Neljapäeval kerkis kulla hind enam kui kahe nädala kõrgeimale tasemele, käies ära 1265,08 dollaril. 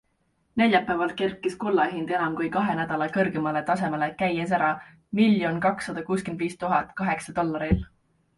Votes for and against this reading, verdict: 0, 2, rejected